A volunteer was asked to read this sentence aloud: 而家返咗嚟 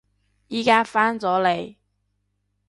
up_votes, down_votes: 0, 2